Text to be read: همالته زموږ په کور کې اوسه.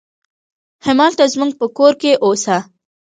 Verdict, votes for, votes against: rejected, 1, 2